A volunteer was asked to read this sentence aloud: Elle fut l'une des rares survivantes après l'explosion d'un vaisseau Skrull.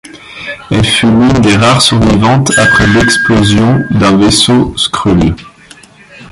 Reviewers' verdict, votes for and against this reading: rejected, 1, 2